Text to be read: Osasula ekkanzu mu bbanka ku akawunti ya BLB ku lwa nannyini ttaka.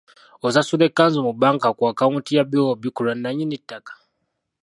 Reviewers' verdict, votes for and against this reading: rejected, 0, 2